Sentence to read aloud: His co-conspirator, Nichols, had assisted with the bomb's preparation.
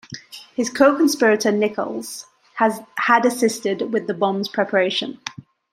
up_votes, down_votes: 0, 2